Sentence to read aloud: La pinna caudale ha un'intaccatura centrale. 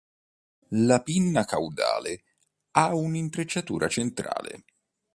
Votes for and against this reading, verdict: 0, 2, rejected